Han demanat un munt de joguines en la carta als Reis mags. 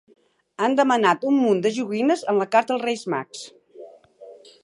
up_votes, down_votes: 2, 0